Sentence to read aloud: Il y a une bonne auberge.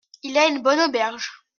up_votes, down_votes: 2, 1